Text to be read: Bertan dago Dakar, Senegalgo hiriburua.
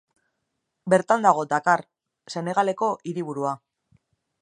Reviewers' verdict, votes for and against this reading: rejected, 0, 3